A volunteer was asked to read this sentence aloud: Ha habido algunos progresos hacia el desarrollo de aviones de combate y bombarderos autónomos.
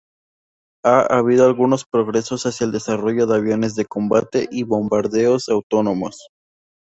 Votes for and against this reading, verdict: 2, 0, accepted